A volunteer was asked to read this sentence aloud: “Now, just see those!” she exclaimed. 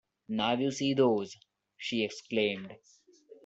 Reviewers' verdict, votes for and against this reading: rejected, 0, 2